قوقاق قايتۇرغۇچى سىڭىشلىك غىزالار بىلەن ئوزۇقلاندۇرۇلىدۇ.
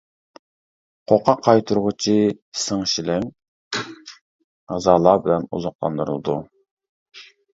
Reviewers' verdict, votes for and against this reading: rejected, 0, 2